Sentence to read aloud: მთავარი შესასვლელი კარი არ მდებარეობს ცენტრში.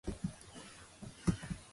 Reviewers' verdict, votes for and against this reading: rejected, 0, 2